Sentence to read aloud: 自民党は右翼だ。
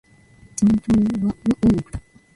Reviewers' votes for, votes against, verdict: 1, 2, rejected